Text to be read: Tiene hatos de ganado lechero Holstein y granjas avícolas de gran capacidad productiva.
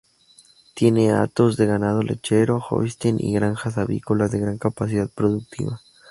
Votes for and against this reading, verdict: 2, 2, rejected